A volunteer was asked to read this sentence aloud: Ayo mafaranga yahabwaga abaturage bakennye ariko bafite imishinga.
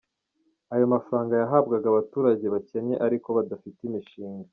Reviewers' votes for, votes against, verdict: 2, 0, accepted